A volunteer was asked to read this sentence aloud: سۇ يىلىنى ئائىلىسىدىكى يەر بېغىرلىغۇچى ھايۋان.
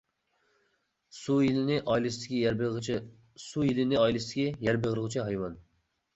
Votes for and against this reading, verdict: 0, 2, rejected